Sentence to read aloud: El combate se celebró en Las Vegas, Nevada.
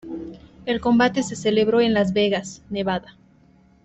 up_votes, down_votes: 2, 0